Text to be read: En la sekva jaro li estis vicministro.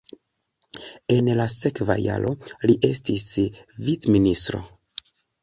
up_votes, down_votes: 2, 0